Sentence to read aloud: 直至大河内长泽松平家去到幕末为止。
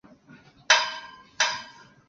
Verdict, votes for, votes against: rejected, 0, 2